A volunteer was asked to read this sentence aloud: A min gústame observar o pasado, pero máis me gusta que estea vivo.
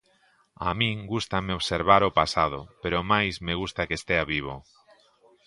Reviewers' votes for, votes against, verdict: 2, 0, accepted